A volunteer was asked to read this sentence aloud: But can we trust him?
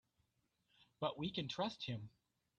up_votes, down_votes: 0, 2